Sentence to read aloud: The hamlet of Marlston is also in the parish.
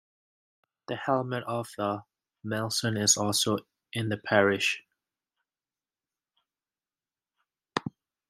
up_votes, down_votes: 1, 2